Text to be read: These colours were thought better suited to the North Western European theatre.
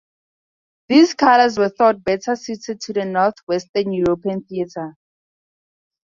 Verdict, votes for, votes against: accepted, 2, 0